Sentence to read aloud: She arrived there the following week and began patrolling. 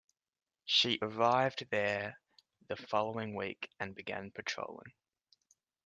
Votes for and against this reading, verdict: 2, 0, accepted